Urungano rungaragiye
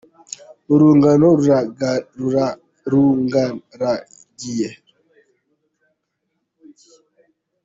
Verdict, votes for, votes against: rejected, 0, 2